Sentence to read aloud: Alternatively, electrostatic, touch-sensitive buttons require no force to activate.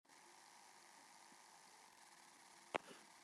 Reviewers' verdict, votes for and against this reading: rejected, 0, 2